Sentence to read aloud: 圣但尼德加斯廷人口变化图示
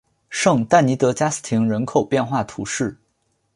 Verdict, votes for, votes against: accepted, 3, 0